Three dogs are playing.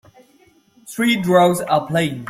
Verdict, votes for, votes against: rejected, 1, 2